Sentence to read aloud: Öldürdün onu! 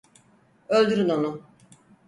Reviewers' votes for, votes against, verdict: 0, 4, rejected